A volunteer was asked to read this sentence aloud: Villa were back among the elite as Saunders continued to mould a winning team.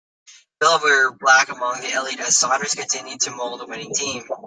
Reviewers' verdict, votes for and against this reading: rejected, 0, 2